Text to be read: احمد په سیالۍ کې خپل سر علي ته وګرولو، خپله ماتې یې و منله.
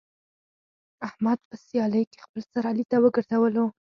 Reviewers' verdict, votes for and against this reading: rejected, 0, 4